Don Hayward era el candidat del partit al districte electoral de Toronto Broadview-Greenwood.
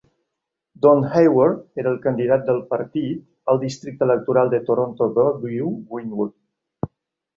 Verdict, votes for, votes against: accepted, 2, 0